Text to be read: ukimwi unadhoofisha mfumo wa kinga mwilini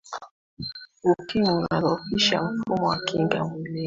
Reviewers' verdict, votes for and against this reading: accepted, 2, 0